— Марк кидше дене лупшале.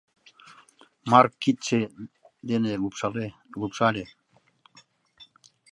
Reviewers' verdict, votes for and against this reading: rejected, 1, 2